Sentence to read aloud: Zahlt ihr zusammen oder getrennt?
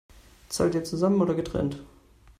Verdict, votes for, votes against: accepted, 3, 0